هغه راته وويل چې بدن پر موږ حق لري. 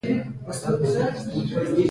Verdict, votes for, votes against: accepted, 2, 1